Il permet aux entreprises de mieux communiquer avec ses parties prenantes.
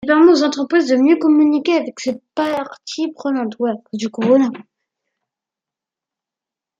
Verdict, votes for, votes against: rejected, 0, 2